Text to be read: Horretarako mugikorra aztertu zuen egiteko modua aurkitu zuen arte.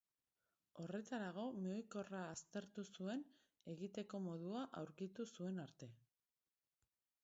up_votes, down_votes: 0, 2